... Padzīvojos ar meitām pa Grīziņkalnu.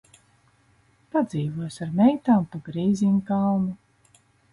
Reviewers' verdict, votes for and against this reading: rejected, 1, 2